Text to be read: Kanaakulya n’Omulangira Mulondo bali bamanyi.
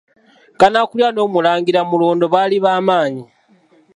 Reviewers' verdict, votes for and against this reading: accepted, 2, 0